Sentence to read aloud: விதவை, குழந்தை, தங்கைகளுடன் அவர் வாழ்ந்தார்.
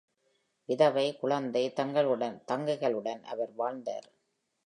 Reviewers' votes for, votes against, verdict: 0, 2, rejected